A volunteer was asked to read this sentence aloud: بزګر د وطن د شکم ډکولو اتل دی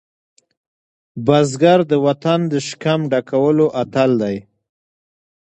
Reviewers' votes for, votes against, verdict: 2, 0, accepted